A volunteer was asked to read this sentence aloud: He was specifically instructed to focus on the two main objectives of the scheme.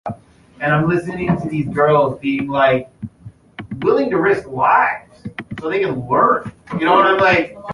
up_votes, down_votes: 1, 2